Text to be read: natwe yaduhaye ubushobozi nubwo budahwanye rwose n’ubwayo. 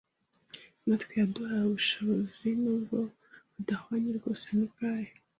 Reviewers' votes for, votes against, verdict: 2, 0, accepted